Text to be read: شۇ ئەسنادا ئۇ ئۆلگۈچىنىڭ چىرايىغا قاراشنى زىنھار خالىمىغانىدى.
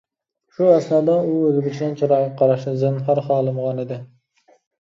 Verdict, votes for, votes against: rejected, 0, 2